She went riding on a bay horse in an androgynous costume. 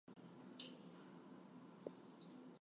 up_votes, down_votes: 0, 2